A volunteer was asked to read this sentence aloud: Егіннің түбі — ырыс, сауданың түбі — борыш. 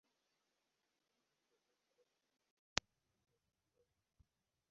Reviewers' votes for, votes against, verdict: 0, 2, rejected